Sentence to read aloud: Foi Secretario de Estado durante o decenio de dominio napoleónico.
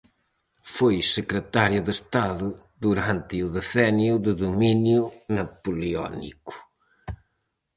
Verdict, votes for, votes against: accepted, 4, 0